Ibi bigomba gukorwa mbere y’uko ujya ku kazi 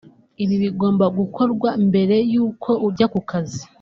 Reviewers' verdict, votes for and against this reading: rejected, 0, 2